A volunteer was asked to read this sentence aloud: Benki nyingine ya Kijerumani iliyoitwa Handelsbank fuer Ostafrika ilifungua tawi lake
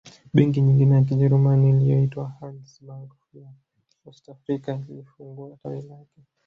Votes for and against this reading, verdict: 0, 2, rejected